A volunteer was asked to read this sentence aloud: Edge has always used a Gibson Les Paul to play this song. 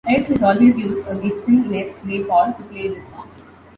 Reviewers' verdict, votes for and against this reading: rejected, 0, 2